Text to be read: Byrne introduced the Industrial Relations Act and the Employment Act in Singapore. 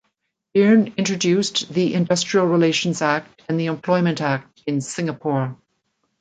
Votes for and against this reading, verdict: 2, 0, accepted